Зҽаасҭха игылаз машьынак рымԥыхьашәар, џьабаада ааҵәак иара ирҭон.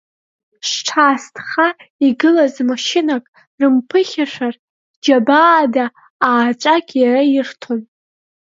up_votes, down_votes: 0, 2